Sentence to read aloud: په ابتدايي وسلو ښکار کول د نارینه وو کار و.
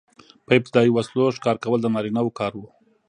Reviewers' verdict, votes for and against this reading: accepted, 2, 0